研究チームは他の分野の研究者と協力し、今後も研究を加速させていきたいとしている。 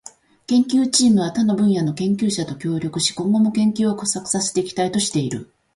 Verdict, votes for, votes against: rejected, 1, 2